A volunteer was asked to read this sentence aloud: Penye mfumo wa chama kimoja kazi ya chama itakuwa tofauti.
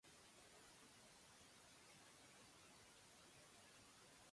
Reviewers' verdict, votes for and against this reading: rejected, 0, 2